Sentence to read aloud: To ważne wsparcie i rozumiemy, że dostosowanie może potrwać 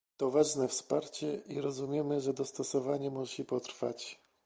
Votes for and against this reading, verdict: 1, 2, rejected